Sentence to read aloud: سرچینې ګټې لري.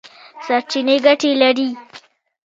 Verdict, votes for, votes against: accepted, 2, 1